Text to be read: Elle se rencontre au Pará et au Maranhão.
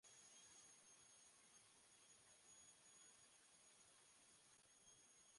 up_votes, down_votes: 0, 2